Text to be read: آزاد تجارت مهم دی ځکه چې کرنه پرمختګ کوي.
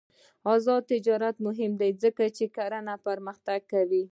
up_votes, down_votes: 1, 2